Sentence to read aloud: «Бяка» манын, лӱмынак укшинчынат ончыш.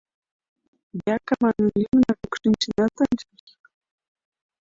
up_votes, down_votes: 0, 2